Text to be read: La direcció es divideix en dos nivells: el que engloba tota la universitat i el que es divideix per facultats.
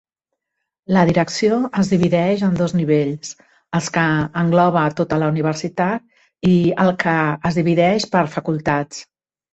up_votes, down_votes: 1, 3